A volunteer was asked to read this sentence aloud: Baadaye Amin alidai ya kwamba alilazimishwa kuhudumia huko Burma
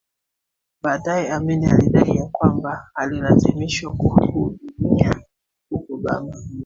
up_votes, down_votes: 1, 3